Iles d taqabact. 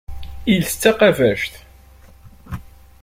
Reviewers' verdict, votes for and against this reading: accepted, 2, 0